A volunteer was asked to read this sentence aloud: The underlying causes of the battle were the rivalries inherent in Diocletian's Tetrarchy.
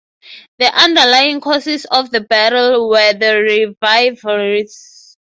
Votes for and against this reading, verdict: 0, 6, rejected